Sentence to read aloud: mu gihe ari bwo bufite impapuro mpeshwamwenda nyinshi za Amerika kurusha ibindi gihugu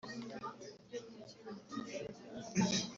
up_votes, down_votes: 1, 2